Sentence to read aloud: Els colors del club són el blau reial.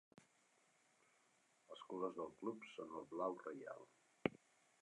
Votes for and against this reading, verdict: 0, 2, rejected